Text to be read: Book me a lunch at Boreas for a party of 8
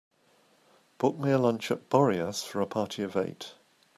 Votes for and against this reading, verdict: 0, 2, rejected